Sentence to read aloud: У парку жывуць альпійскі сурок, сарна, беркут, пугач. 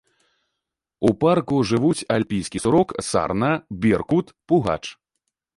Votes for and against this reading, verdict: 2, 1, accepted